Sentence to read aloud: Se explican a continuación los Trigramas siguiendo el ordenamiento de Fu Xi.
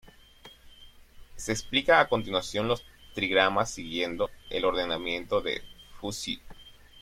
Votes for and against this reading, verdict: 1, 2, rejected